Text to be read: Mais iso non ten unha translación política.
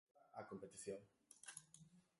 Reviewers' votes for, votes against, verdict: 0, 2, rejected